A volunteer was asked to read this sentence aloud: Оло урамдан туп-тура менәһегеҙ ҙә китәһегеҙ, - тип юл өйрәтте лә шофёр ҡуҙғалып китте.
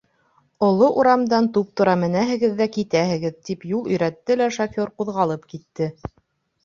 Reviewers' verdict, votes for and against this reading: accepted, 2, 0